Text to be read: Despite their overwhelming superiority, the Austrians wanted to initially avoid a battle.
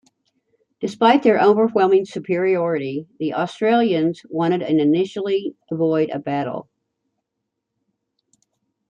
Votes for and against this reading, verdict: 0, 2, rejected